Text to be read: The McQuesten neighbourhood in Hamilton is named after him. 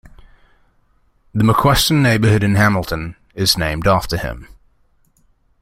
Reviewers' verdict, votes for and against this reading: accepted, 2, 0